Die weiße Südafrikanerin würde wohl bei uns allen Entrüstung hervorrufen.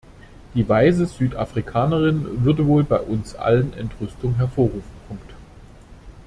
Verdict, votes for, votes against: rejected, 0, 2